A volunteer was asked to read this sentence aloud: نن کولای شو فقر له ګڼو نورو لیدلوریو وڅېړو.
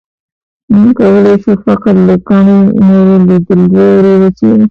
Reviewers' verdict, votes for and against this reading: rejected, 1, 2